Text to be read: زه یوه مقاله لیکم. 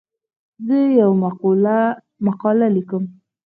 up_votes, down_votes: 0, 4